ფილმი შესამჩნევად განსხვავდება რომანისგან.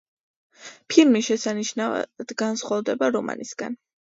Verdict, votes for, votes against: rejected, 1, 2